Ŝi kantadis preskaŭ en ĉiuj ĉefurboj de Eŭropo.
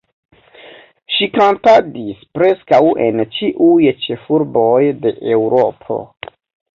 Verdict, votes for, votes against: rejected, 1, 2